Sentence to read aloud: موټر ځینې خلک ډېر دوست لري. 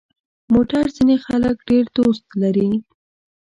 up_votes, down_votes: 2, 0